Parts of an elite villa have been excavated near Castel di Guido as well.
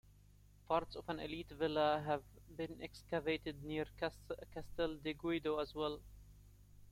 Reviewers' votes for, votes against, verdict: 1, 2, rejected